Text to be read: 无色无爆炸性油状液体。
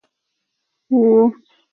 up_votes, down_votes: 0, 4